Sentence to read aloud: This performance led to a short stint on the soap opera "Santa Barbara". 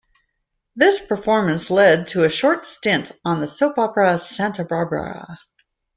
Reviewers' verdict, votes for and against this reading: accepted, 2, 0